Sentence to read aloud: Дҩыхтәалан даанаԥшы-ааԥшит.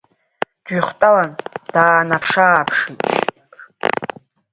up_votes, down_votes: 1, 2